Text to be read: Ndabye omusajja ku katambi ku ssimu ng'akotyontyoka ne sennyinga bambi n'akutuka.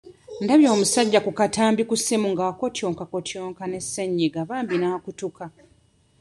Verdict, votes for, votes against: rejected, 1, 2